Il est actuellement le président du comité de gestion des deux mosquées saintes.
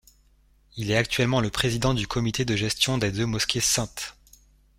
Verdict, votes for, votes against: accepted, 4, 0